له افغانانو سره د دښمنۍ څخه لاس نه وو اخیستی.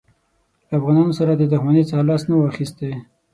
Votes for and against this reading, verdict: 6, 0, accepted